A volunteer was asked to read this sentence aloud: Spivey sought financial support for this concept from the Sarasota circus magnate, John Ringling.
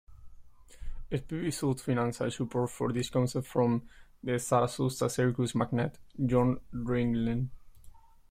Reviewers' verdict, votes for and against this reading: rejected, 0, 2